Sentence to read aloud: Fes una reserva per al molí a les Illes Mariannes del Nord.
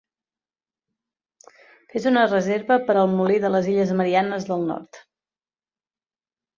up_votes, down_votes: 0, 2